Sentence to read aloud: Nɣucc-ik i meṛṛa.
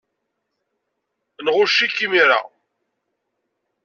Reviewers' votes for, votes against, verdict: 1, 2, rejected